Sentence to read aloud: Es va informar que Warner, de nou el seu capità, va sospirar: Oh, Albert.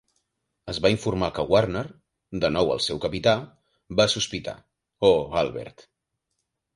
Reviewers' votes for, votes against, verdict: 2, 4, rejected